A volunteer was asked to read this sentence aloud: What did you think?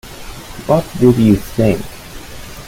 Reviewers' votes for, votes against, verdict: 0, 2, rejected